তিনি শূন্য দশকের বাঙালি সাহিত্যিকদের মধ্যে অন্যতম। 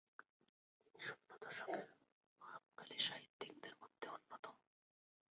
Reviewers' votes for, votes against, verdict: 1, 2, rejected